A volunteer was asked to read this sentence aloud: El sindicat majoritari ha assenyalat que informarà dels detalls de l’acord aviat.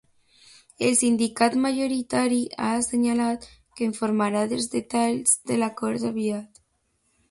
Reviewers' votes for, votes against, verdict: 2, 0, accepted